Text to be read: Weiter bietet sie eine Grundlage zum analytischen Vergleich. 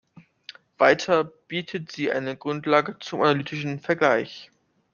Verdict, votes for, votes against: rejected, 1, 2